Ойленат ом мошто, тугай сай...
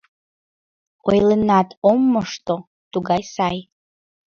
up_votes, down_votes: 3, 0